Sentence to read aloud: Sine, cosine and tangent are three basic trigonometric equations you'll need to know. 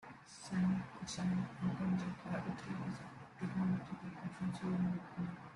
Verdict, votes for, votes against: rejected, 1, 2